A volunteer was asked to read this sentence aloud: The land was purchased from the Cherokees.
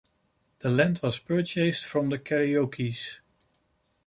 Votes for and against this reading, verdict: 1, 2, rejected